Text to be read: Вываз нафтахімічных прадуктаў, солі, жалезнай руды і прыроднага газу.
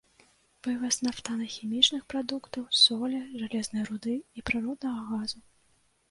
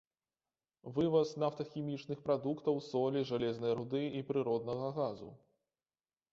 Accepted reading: second